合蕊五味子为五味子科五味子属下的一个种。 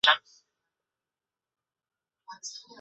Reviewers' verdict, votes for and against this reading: rejected, 0, 2